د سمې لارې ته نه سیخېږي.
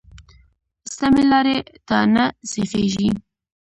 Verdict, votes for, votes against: rejected, 1, 2